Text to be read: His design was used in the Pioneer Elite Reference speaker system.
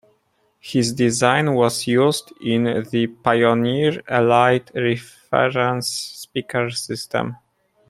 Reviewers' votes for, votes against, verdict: 0, 2, rejected